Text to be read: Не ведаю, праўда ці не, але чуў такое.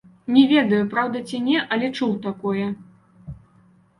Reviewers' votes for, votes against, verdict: 2, 0, accepted